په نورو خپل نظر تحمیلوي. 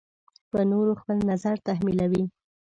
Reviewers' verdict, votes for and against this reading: accepted, 2, 0